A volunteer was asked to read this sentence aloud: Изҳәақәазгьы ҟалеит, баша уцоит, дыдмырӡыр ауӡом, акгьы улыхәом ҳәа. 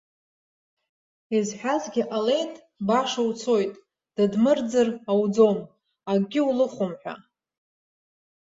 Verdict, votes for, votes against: rejected, 0, 2